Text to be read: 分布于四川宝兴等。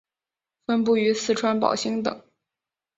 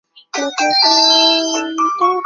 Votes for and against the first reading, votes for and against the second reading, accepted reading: 2, 0, 0, 4, first